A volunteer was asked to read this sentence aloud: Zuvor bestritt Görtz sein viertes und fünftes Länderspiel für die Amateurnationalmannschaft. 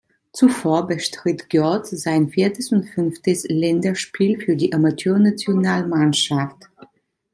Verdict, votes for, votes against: accepted, 2, 0